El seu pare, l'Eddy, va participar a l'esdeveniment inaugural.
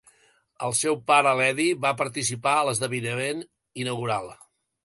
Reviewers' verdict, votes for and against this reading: rejected, 1, 2